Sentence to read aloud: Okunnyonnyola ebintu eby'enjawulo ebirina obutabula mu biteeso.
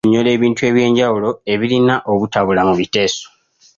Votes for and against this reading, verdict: 1, 2, rejected